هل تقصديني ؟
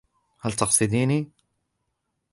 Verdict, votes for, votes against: accepted, 2, 1